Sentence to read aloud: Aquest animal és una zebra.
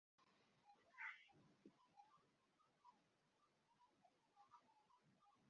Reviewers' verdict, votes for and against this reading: rejected, 0, 3